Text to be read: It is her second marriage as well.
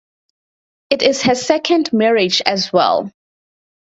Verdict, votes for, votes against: accepted, 4, 0